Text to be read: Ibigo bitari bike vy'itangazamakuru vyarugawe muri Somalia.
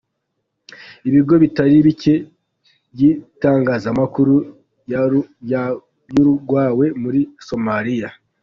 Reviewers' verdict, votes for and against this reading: rejected, 0, 2